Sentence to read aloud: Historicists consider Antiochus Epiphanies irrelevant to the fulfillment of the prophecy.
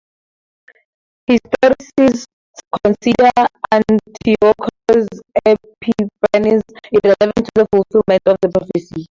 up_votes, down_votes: 0, 2